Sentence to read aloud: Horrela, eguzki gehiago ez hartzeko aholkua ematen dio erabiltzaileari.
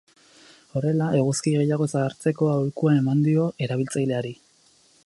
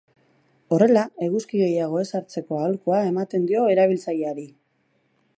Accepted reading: second